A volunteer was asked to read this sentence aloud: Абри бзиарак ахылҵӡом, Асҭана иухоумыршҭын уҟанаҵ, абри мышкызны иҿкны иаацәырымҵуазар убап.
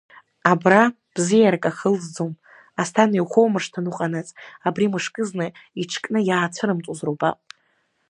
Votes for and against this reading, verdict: 1, 2, rejected